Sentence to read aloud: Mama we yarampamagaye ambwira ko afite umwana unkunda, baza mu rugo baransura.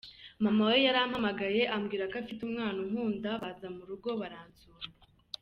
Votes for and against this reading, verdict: 2, 0, accepted